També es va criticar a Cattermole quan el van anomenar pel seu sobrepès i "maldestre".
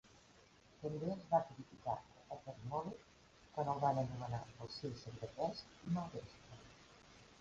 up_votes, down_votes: 1, 2